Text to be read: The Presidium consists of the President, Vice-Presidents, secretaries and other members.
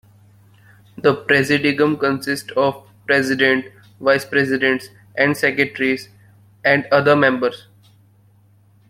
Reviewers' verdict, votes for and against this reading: rejected, 0, 2